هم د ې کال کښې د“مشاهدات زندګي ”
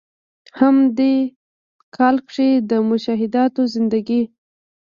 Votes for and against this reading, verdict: 0, 2, rejected